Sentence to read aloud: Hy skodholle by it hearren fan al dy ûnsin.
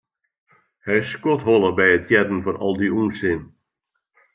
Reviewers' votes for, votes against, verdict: 2, 0, accepted